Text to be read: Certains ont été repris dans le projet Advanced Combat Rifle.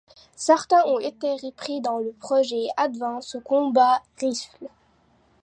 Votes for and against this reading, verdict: 0, 2, rejected